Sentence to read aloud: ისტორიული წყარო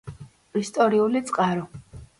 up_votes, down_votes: 2, 0